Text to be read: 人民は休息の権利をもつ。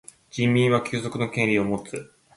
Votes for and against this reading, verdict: 2, 0, accepted